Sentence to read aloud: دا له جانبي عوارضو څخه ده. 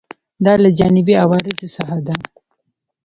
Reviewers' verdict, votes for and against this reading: rejected, 1, 2